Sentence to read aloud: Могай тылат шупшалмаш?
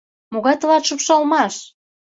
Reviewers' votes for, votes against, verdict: 2, 0, accepted